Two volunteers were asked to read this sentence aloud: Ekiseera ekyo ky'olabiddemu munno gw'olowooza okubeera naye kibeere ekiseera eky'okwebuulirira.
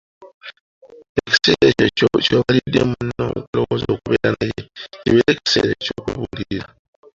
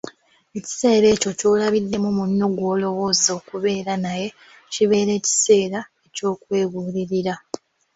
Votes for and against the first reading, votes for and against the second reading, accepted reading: 1, 3, 2, 1, second